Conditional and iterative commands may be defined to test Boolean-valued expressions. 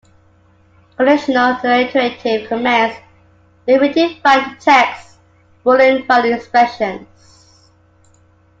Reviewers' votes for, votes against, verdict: 1, 2, rejected